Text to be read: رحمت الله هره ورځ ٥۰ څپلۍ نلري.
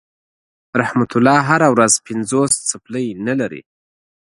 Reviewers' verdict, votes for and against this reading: rejected, 0, 2